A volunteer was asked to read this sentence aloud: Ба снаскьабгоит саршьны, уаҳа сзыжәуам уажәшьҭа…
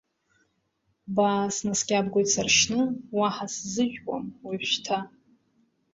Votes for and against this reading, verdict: 0, 2, rejected